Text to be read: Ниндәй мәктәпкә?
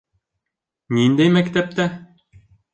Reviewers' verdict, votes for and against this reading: rejected, 1, 3